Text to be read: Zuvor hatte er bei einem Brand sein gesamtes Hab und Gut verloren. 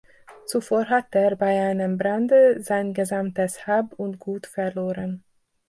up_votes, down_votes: 0, 2